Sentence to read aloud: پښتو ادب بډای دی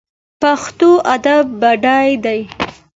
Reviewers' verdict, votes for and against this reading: accepted, 2, 0